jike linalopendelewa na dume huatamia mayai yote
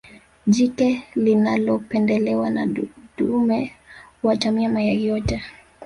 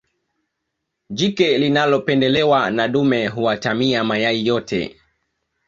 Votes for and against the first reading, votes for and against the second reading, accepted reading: 1, 2, 2, 1, second